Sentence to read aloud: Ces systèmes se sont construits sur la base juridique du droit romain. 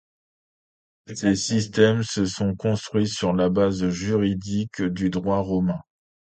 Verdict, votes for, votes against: accepted, 2, 0